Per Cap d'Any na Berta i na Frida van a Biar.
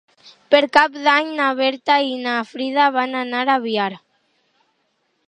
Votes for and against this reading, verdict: 0, 4, rejected